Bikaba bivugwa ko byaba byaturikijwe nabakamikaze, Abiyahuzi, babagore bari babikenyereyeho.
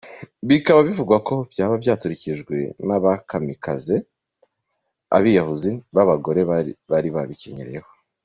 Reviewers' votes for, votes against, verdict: 2, 1, accepted